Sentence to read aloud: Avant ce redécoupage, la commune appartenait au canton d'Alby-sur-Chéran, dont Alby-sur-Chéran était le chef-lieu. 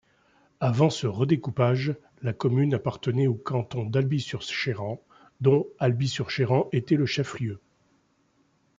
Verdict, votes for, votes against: rejected, 0, 2